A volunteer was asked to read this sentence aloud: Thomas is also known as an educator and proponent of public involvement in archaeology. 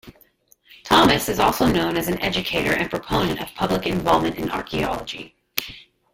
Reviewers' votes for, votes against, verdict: 1, 2, rejected